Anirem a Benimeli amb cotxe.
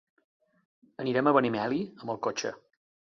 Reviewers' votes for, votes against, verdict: 1, 2, rejected